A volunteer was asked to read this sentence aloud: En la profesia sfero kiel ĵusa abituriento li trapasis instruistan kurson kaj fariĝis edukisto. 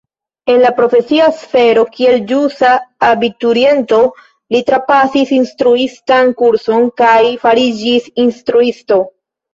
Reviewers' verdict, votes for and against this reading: rejected, 1, 2